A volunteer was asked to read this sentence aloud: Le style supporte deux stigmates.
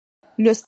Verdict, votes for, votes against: rejected, 0, 2